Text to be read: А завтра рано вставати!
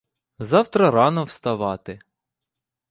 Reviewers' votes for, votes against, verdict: 1, 2, rejected